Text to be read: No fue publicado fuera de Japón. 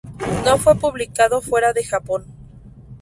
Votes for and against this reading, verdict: 2, 0, accepted